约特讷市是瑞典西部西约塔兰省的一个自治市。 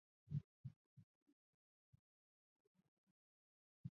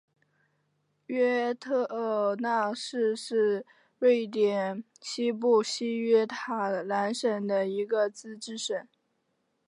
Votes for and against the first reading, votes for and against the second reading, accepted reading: 0, 3, 2, 1, second